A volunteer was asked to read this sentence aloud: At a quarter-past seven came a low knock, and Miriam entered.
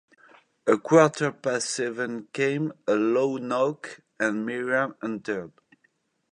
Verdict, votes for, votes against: rejected, 0, 2